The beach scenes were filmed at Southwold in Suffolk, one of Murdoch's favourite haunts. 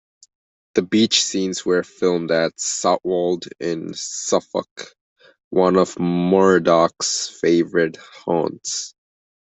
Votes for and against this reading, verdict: 1, 2, rejected